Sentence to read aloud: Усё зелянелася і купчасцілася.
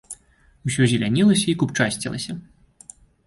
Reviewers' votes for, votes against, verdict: 2, 0, accepted